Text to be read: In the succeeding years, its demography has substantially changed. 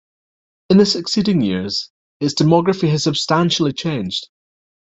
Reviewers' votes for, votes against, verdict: 2, 0, accepted